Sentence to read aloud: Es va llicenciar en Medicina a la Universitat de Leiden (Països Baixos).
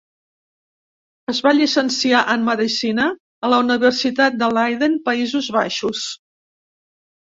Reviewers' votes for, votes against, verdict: 3, 0, accepted